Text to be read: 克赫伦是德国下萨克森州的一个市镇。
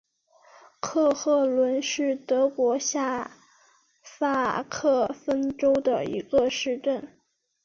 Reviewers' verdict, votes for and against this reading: accepted, 2, 0